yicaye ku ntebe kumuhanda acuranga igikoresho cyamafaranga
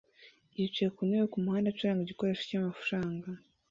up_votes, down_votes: 2, 0